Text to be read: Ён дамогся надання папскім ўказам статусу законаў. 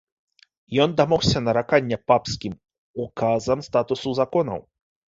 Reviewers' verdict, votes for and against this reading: rejected, 0, 2